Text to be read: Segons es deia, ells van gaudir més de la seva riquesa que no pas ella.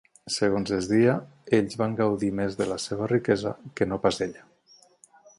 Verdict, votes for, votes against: accepted, 18, 0